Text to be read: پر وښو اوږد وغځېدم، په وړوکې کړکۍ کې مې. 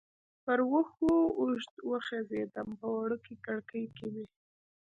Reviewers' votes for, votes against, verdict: 1, 2, rejected